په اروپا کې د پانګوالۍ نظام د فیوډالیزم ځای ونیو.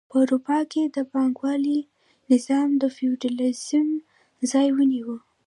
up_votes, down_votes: 1, 2